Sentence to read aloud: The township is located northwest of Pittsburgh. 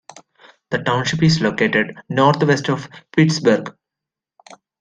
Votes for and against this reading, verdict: 3, 0, accepted